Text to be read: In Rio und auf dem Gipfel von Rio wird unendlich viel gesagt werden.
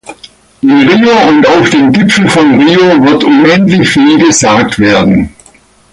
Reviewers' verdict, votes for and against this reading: accepted, 2, 0